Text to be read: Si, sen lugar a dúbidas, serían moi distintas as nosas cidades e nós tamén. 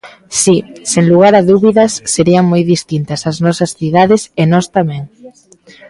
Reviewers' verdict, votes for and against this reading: accepted, 3, 0